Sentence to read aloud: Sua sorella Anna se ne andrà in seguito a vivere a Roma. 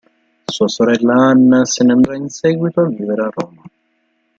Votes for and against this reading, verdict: 0, 2, rejected